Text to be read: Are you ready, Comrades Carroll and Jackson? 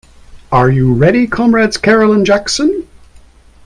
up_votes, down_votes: 2, 0